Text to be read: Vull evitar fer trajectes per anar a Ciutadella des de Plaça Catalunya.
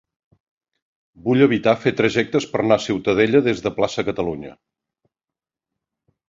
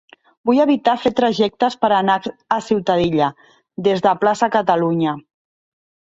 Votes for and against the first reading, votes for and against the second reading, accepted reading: 4, 0, 0, 2, first